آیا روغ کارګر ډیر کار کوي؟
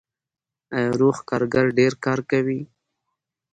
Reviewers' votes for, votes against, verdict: 2, 0, accepted